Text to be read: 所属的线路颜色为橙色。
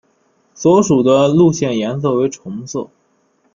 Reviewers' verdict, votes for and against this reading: rejected, 0, 2